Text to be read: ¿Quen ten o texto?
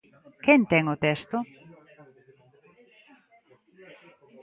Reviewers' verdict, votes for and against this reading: accepted, 2, 1